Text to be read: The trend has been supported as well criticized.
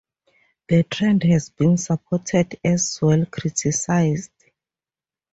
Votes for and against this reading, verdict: 0, 2, rejected